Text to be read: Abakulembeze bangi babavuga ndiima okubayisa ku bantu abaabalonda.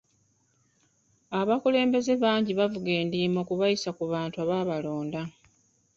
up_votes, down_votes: 2, 1